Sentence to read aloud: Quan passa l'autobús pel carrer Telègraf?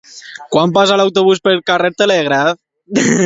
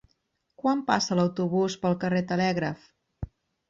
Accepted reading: second